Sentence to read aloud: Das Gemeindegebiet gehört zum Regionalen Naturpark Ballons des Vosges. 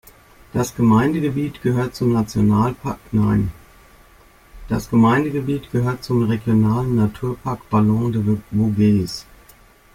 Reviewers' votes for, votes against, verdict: 0, 2, rejected